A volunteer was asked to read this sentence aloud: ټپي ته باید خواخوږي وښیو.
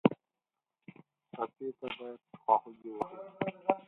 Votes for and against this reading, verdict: 0, 4, rejected